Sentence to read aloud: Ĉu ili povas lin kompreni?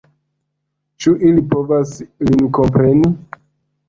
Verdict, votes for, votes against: accepted, 2, 0